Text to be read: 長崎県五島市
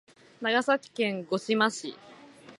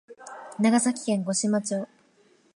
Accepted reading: first